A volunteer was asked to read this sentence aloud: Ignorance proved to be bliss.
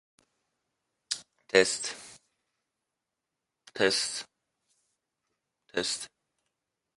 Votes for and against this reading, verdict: 0, 2, rejected